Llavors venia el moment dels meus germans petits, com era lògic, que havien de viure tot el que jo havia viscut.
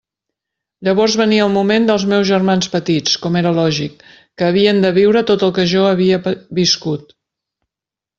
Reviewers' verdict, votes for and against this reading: rejected, 0, 2